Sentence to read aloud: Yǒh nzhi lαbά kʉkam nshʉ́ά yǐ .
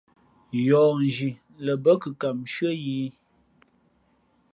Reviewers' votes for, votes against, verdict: 0, 2, rejected